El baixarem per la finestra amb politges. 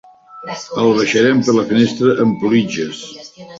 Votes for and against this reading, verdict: 0, 2, rejected